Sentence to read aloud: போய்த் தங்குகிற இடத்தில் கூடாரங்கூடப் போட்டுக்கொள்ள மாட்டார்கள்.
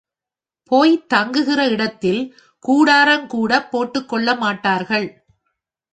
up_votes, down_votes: 2, 1